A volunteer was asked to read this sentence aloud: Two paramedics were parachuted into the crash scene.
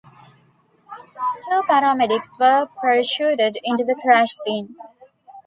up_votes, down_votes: 2, 0